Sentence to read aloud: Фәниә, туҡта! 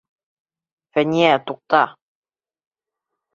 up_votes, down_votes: 2, 0